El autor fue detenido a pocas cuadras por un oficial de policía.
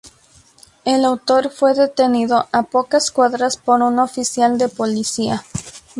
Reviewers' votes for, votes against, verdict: 0, 2, rejected